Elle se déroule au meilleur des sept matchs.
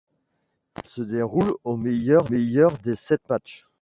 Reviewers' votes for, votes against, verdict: 0, 2, rejected